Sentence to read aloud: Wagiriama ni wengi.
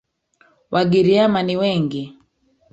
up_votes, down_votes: 1, 2